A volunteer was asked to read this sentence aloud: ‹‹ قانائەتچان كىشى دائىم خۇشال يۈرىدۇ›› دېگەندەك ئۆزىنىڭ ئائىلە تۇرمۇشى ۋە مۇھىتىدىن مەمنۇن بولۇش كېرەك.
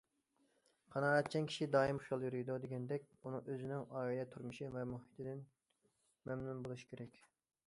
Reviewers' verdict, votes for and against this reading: rejected, 0, 2